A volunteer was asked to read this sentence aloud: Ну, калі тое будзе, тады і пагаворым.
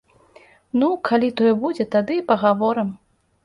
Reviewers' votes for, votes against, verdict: 2, 0, accepted